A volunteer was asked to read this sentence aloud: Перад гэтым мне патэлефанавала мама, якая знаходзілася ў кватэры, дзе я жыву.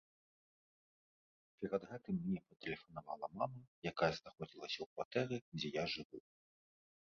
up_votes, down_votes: 0, 2